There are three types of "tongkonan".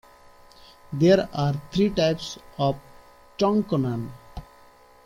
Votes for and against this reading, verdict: 2, 0, accepted